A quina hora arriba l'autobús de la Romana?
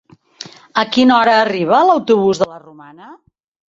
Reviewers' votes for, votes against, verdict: 4, 1, accepted